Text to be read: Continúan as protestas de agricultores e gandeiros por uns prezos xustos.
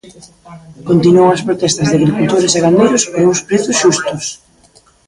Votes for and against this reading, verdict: 1, 2, rejected